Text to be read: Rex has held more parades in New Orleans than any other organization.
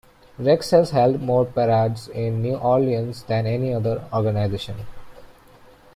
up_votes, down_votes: 0, 2